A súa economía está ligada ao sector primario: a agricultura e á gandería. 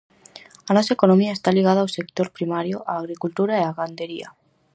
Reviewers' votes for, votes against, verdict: 0, 4, rejected